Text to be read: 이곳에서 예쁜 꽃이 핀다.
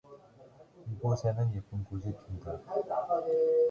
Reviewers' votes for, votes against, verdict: 0, 2, rejected